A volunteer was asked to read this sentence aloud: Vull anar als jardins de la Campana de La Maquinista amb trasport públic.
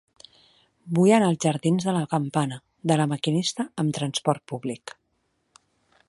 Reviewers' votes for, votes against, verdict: 3, 0, accepted